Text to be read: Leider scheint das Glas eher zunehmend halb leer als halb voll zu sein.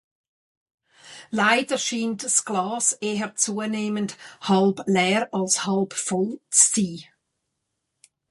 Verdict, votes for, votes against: rejected, 0, 2